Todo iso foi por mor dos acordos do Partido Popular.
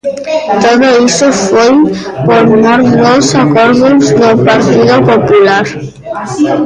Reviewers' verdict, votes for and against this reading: rejected, 0, 2